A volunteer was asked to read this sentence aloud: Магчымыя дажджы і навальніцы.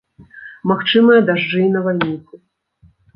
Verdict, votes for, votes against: rejected, 1, 2